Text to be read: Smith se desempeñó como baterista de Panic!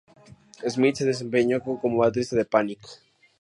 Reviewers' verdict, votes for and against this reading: accepted, 2, 0